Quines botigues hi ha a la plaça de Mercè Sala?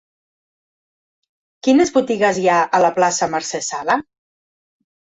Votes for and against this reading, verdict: 1, 2, rejected